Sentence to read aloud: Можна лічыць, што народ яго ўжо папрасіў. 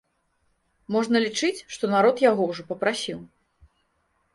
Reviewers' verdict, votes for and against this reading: accepted, 3, 0